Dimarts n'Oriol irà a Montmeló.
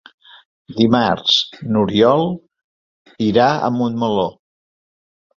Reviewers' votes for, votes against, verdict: 5, 0, accepted